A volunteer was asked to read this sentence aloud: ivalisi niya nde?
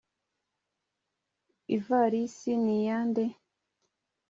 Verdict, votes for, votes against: accepted, 2, 0